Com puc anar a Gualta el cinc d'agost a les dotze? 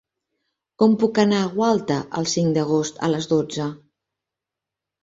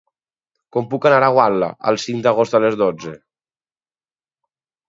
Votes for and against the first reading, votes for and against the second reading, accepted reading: 3, 0, 2, 4, first